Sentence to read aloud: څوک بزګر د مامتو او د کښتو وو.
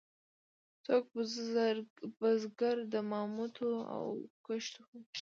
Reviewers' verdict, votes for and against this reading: rejected, 1, 2